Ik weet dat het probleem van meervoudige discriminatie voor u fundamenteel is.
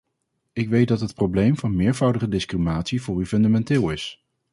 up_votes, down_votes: 2, 2